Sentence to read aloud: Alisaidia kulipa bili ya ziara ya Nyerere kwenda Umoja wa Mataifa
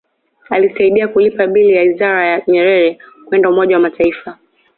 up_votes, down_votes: 2, 0